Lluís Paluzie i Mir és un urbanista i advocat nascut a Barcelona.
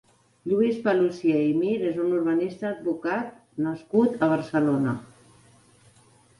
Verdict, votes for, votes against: rejected, 3, 4